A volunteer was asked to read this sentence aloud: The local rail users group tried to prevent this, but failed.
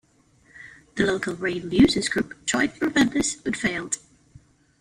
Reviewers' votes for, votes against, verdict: 0, 2, rejected